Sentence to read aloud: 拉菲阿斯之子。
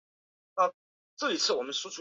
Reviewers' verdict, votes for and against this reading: rejected, 0, 5